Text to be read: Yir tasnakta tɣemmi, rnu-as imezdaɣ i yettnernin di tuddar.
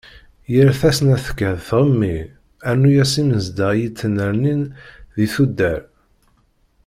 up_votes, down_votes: 0, 2